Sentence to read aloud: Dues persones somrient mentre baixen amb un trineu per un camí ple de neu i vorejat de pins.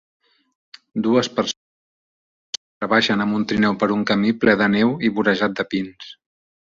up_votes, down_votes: 0, 2